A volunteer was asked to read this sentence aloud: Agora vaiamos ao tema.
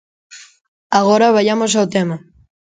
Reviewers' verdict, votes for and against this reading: accepted, 2, 0